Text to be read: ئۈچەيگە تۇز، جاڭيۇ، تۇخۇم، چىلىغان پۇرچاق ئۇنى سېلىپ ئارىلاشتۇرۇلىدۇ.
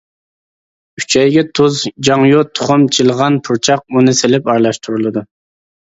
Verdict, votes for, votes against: accepted, 2, 0